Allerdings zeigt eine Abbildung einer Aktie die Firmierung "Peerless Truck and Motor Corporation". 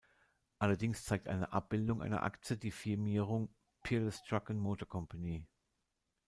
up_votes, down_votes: 0, 2